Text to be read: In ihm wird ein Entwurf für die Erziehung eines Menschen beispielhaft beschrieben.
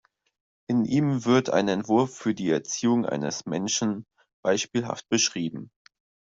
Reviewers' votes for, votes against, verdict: 2, 1, accepted